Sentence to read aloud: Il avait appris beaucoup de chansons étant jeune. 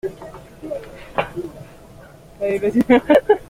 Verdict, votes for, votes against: rejected, 0, 2